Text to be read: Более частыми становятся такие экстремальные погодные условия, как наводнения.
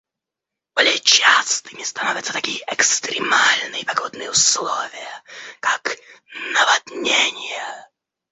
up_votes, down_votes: 1, 2